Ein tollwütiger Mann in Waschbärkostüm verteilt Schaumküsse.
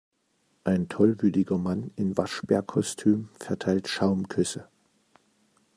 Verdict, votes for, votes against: accepted, 2, 1